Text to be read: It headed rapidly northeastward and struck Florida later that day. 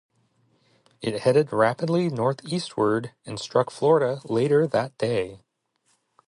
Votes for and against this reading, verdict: 2, 0, accepted